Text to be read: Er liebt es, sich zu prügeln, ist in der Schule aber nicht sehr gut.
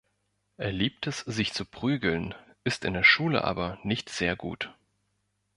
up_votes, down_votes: 2, 0